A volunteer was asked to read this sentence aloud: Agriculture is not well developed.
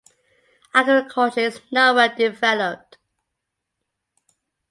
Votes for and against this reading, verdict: 3, 1, accepted